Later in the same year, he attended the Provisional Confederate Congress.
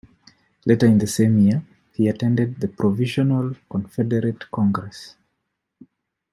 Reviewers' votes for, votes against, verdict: 2, 0, accepted